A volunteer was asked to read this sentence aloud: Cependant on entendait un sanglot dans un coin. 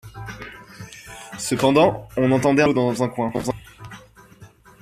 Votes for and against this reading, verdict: 0, 2, rejected